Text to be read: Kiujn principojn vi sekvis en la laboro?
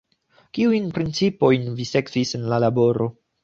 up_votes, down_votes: 2, 0